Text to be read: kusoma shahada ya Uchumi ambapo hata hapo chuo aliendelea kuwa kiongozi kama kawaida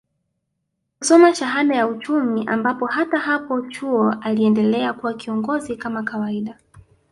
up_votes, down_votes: 2, 0